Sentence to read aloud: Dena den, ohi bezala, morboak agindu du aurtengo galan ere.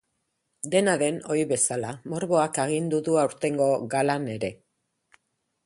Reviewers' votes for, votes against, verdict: 4, 0, accepted